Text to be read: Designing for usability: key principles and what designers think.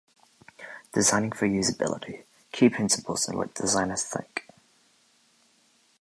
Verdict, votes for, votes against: rejected, 0, 2